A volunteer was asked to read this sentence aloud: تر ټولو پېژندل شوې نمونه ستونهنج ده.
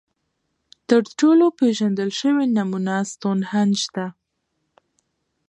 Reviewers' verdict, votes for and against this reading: rejected, 0, 2